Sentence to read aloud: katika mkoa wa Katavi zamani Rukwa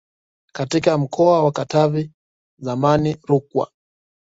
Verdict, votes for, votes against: accepted, 2, 0